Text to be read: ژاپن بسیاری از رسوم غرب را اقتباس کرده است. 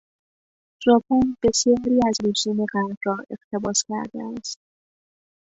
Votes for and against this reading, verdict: 2, 0, accepted